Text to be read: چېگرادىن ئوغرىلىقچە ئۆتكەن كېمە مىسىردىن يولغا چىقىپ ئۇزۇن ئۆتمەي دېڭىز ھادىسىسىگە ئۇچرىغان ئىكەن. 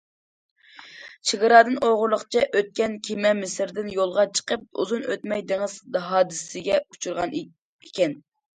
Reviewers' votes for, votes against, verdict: 2, 0, accepted